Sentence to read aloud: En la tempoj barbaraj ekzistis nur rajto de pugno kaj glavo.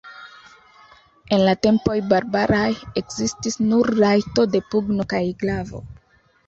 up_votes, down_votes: 2, 0